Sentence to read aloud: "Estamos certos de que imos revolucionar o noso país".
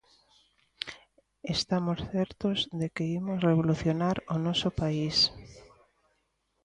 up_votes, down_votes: 2, 0